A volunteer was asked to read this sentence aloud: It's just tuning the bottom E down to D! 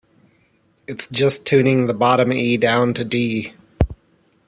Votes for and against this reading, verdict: 3, 0, accepted